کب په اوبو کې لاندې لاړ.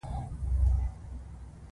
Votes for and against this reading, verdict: 1, 2, rejected